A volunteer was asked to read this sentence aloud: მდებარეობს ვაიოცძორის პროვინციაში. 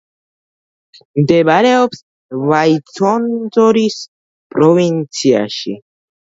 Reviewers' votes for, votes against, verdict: 1, 2, rejected